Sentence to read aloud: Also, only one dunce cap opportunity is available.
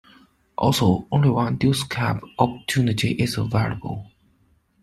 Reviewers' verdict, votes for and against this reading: rejected, 0, 2